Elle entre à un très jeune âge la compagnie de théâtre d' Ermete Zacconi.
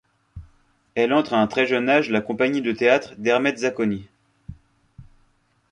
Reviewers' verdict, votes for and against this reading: accepted, 2, 0